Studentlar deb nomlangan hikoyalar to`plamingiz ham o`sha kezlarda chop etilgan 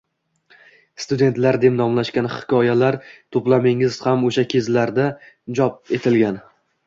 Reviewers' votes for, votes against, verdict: 2, 0, accepted